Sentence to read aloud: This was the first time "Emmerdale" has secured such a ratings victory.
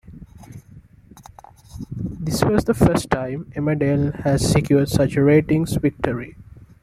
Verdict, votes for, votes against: accepted, 3, 0